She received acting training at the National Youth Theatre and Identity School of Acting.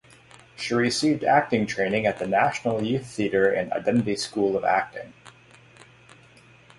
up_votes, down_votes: 3, 3